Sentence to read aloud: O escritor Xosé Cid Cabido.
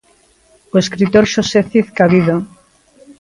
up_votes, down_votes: 2, 0